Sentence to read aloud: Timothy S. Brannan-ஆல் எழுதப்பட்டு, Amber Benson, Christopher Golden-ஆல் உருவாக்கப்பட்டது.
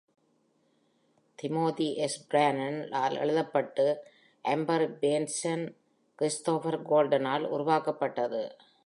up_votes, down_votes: 1, 2